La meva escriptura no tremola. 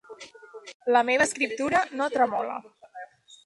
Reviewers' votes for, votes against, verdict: 1, 2, rejected